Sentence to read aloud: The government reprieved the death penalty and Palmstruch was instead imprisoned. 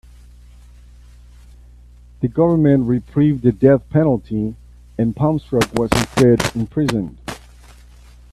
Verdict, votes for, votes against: rejected, 1, 2